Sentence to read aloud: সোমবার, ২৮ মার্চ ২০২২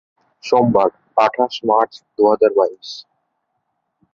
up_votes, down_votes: 0, 2